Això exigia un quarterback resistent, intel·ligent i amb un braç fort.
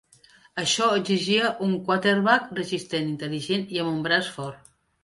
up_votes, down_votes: 2, 1